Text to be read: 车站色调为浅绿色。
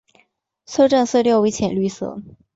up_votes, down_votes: 3, 0